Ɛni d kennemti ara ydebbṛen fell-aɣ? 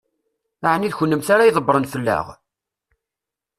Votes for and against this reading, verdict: 2, 0, accepted